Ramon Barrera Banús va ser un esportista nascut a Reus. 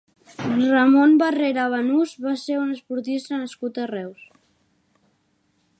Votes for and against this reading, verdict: 3, 0, accepted